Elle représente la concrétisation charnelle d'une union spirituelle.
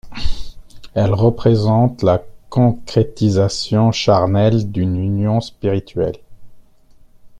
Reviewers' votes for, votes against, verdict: 1, 2, rejected